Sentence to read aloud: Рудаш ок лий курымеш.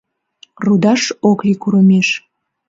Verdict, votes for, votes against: accepted, 3, 0